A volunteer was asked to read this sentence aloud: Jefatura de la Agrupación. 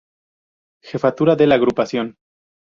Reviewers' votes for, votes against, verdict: 0, 2, rejected